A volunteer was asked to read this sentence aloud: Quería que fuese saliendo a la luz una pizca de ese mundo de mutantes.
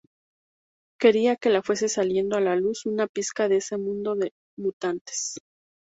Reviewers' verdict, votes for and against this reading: rejected, 2, 2